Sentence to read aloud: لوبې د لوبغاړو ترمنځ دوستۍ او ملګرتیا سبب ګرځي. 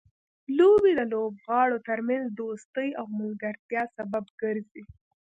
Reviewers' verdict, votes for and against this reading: rejected, 1, 2